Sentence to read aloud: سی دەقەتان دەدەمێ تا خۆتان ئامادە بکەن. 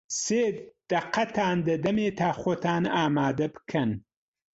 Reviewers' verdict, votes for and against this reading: accepted, 2, 0